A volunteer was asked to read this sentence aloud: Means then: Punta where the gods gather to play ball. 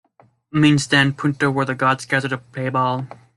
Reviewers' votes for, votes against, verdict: 2, 0, accepted